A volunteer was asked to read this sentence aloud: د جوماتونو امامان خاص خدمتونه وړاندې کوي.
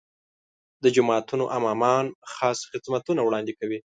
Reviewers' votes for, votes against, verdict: 2, 0, accepted